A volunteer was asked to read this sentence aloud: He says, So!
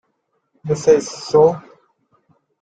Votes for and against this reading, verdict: 2, 1, accepted